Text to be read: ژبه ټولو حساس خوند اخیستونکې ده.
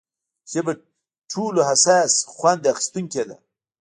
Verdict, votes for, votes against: rejected, 0, 2